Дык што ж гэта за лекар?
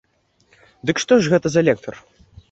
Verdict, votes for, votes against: rejected, 0, 2